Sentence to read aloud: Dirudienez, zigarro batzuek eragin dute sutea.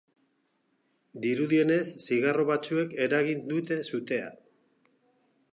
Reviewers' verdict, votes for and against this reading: accepted, 2, 0